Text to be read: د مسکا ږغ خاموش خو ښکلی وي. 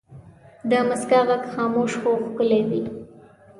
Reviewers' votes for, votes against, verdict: 2, 0, accepted